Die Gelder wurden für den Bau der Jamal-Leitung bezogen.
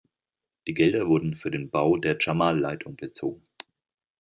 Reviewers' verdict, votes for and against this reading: accepted, 2, 0